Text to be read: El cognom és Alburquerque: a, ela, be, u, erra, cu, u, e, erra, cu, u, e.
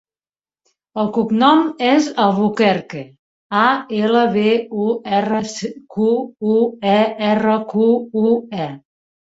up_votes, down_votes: 1, 4